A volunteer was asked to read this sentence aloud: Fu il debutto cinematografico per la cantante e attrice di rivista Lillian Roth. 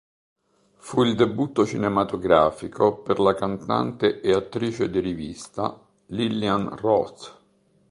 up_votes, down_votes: 2, 0